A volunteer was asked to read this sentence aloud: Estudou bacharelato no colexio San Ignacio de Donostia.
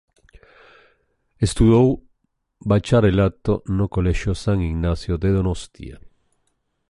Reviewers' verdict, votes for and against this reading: accepted, 2, 0